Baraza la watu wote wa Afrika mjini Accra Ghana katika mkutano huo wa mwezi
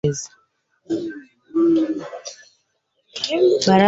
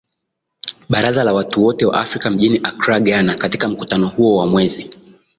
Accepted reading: second